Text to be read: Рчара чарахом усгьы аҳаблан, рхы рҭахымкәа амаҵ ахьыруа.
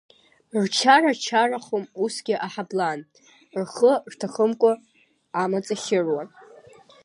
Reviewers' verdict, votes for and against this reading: rejected, 0, 2